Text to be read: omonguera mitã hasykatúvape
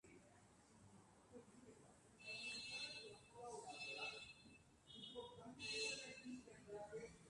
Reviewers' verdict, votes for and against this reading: rejected, 0, 2